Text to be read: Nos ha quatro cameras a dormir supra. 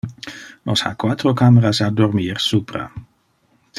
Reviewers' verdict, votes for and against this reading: accepted, 2, 1